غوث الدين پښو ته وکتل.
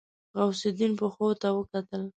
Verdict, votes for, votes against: accepted, 2, 0